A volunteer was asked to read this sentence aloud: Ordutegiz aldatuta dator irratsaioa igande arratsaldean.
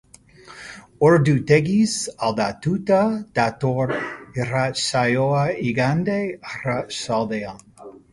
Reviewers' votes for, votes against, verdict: 1, 2, rejected